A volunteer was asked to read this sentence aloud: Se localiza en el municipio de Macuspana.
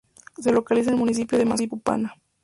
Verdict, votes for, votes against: rejected, 0, 2